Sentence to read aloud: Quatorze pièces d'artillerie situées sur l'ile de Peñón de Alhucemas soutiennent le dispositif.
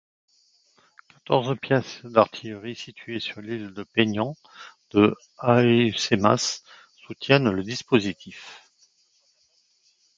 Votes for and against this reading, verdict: 0, 3, rejected